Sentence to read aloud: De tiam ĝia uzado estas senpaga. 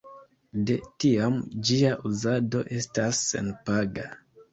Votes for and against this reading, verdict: 2, 0, accepted